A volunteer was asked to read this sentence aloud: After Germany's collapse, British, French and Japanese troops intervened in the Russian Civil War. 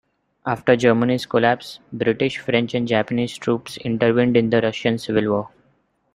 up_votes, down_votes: 2, 0